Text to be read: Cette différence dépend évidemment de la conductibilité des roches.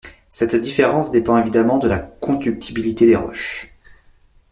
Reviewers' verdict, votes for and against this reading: accepted, 2, 0